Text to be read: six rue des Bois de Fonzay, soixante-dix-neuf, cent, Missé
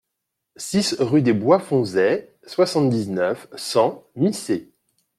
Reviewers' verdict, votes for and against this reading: accepted, 2, 1